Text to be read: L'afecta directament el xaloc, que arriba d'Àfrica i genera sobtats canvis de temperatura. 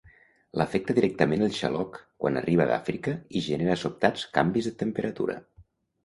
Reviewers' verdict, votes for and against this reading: rejected, 1, 2